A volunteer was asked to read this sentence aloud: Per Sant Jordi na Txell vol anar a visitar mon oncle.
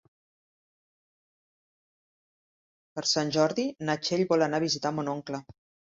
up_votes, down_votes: 3, 0